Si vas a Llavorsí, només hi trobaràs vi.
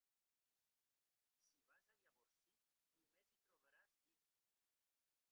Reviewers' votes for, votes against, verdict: 1, 2, rejected